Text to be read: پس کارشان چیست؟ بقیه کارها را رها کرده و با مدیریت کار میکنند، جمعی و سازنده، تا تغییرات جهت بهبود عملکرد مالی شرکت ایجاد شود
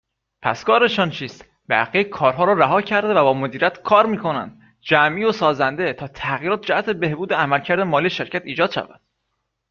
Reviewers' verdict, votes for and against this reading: accepted, 2, 0